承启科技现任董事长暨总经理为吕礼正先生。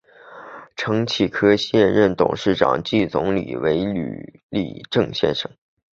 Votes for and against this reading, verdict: 2, 0, accepted